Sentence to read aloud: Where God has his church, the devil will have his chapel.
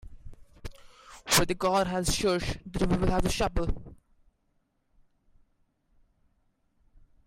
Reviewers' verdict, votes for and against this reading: rejected, 0, 2